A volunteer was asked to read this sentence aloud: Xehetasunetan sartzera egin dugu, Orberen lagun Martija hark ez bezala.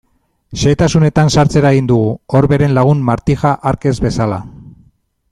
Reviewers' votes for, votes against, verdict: 2, 0, accepted